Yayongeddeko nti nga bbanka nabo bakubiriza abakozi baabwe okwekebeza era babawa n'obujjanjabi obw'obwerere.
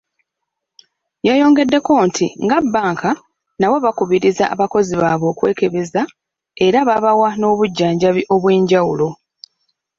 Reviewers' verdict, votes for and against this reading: rejected, 0, 2